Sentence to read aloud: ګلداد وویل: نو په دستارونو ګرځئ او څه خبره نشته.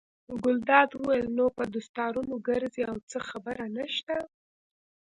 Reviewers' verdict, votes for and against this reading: accepted, 2, 0